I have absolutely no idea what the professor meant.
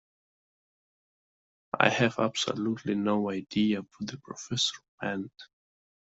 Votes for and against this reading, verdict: 0, 2, rejected